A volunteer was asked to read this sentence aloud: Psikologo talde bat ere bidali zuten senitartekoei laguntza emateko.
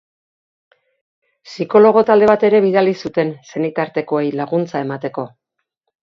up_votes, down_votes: 2, 0